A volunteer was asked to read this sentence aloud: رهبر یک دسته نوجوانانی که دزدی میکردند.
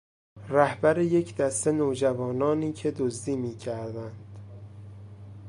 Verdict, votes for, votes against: accepted, 2, 0